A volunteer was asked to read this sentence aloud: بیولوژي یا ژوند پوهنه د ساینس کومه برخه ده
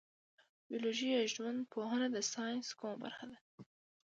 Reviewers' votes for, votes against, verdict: 2, 0, accepted